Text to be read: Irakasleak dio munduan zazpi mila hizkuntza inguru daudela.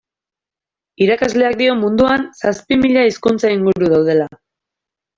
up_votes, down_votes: 2, 0